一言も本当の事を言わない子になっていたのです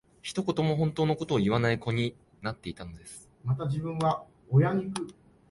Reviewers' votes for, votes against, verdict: 0, 2, rejected